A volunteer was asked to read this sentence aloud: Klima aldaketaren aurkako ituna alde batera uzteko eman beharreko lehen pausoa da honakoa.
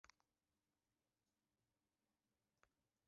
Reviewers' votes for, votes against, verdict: 0, 3, rejected